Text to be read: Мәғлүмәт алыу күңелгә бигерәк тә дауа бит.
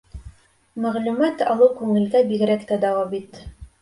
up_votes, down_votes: 2, 0